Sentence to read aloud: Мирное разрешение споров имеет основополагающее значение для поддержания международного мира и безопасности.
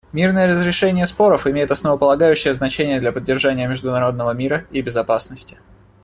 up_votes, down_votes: 2, 0